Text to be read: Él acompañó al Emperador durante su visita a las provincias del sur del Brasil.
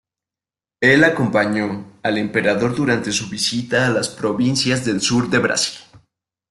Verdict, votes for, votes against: rejected, 1, 2